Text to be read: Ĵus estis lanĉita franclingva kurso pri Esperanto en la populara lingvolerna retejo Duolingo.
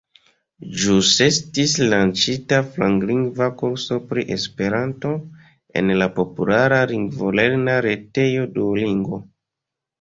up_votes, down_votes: 1, 2